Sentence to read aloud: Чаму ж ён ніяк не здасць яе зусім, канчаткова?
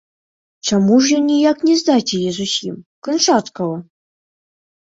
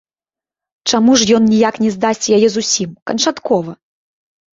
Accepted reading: second